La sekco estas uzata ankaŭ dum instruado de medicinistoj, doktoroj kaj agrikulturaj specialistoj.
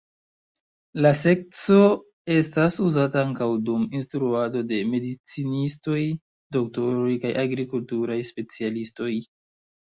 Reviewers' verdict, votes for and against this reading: accepted, 2, 0